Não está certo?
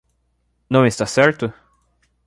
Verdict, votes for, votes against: accepted, 2, 0